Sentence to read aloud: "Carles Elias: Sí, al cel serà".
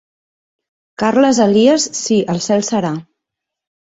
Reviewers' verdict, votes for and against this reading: accepted, 2, 0